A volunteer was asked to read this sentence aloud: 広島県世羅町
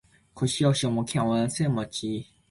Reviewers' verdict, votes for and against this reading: rejected, 0, 2